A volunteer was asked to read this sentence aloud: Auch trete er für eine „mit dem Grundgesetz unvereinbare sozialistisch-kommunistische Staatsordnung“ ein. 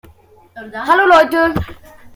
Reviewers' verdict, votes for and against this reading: rejected, 0, 2